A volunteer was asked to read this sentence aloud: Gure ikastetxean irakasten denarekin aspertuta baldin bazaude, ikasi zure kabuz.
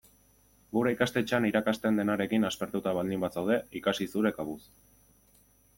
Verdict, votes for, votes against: accepted, 2, 0